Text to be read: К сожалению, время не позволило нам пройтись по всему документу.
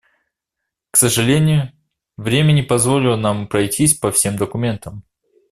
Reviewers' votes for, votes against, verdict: 0, 2, rejected